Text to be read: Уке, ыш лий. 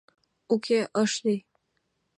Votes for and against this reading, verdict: 2, 0, accepted